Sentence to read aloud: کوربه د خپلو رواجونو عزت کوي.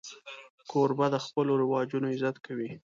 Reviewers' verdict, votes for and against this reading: accepted, 2, 1